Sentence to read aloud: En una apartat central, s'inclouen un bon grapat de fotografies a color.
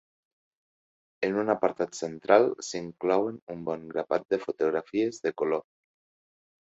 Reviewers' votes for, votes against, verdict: 1, 2, rejected